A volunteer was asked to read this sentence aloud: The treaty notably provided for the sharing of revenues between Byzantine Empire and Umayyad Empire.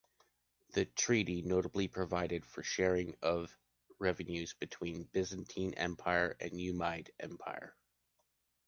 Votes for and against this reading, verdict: 1, 2, rejected